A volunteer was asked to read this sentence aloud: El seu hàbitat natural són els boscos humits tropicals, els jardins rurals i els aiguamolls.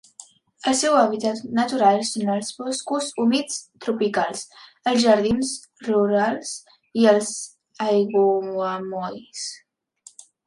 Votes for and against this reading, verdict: 0, 2, rejected